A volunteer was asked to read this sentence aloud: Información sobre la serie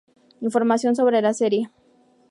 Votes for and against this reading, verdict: 4, 0, accepted